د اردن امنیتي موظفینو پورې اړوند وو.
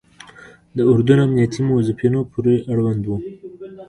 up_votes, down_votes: 2, 0